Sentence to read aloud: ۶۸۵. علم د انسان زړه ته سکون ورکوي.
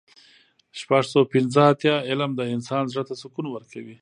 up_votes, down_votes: 0, 2